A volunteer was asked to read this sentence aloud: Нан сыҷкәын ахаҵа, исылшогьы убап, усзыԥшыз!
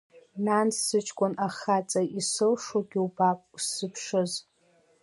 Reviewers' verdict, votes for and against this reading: accepted, 2, 0